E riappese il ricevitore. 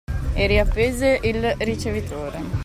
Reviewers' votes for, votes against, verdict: 2, 0, accepted